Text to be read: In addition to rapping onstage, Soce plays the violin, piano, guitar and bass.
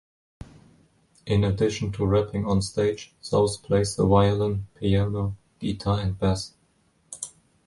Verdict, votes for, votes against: rejected, 1, 2